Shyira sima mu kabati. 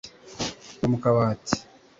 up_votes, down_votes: 0, 2